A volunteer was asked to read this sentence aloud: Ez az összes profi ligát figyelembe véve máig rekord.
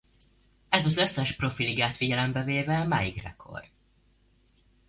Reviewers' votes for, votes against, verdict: 2, 0, accepted